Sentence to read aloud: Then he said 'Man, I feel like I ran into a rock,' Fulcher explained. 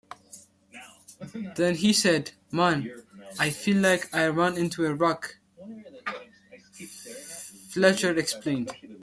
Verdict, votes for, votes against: accepted, 2, 1